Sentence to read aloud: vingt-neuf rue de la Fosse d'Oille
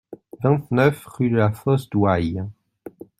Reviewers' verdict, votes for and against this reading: accepted, 2, 0